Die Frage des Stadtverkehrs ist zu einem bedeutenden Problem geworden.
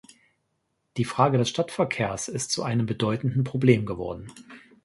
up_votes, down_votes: 2, 0